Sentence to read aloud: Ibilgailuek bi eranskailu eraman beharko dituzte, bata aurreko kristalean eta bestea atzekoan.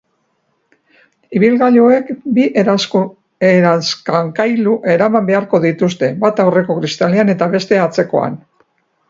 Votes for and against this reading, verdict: 0, 2, rejected